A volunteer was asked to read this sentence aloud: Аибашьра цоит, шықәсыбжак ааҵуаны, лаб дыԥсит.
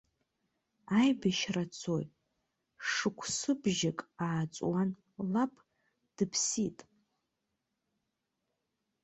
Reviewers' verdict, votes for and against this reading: rejected, 0, 2